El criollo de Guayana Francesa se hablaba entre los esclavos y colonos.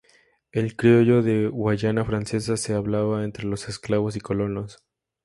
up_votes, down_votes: 2, 0